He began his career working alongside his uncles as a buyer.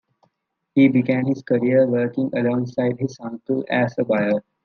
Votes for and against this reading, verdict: 1, 2, rejected